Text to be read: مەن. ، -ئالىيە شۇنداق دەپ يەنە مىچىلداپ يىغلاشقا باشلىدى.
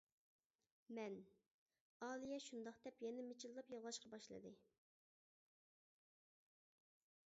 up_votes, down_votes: 1, 2